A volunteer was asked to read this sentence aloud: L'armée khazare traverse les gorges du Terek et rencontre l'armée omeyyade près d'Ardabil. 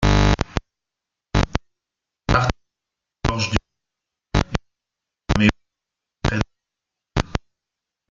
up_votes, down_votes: 0, 2